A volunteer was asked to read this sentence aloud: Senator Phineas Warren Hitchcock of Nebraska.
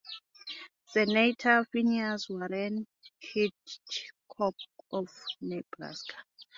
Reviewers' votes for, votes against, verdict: 1, 2, rejected